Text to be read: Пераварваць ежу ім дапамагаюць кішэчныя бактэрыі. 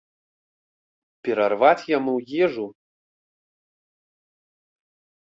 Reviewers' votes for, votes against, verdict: 0, 2, rejected